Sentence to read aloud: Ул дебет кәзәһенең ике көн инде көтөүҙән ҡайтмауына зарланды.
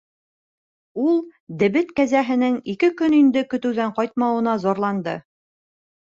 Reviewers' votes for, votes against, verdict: 2, 0, accepted